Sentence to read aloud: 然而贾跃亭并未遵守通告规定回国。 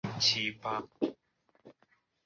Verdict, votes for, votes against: rejected, 0, 2